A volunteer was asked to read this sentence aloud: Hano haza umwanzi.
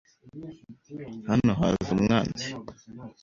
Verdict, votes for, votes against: accepted, 2, 0